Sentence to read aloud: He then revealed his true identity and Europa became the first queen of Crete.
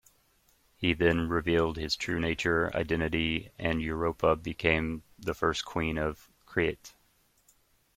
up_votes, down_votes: 0, 2